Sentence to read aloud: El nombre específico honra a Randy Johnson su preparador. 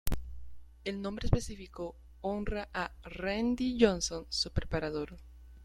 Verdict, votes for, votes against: accepted, 2, 0